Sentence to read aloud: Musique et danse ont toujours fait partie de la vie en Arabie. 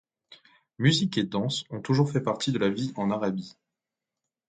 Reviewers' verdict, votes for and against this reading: accepted, 2, 0